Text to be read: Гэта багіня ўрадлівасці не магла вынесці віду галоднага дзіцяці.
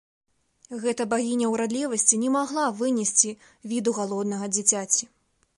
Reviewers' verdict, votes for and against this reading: accepted, 2, 0